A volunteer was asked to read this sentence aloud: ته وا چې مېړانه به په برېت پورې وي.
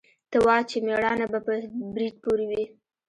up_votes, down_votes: 1, 2